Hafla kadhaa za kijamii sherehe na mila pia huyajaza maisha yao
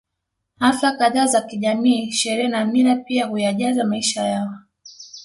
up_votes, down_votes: 2, 0